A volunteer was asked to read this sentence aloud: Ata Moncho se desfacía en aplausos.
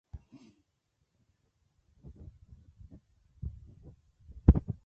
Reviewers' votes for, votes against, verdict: 0, 2, rejected